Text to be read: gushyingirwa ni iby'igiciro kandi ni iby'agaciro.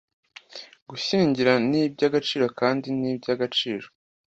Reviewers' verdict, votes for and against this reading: rejected, 1, 2